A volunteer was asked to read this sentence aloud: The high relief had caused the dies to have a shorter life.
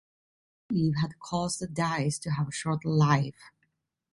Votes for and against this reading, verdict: 0, 2, rejected